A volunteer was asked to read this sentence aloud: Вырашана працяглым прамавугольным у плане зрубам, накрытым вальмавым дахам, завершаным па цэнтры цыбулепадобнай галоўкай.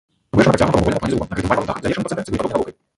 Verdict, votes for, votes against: rejected, 0, 3